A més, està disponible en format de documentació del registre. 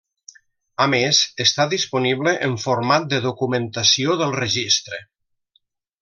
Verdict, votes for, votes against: accepted, 3, 0